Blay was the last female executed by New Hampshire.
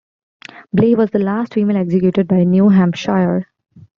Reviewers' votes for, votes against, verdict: 0, 2, rejected